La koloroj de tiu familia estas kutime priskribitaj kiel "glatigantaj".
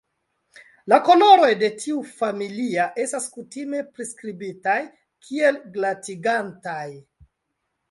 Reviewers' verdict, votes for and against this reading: rejected, 1, 2